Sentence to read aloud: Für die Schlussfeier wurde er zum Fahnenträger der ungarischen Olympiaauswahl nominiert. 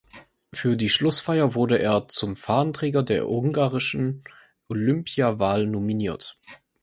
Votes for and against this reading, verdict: 0, 4, rejected